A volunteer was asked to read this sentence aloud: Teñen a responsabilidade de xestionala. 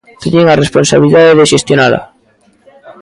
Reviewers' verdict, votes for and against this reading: accepted, 2, 1